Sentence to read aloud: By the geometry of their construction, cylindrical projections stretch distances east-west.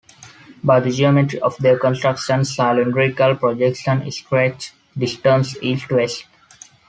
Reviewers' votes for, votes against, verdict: 1, 2, rejected